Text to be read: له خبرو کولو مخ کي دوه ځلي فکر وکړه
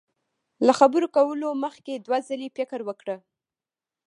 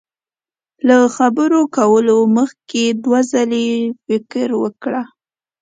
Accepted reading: second